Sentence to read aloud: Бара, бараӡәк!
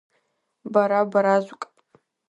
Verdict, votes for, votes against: rejected, 1, 2